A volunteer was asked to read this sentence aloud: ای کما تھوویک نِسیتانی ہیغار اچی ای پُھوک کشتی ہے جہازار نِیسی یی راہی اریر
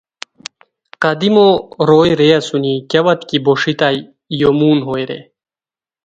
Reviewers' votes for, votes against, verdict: 0, 2, rejected